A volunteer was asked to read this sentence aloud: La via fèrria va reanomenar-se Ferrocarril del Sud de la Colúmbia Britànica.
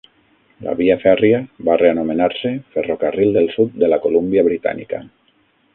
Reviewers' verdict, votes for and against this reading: accepted, 6, 0